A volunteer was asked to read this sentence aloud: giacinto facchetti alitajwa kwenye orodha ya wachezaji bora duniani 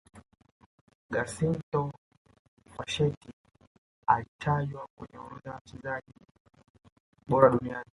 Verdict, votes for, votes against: rejected, 0, 2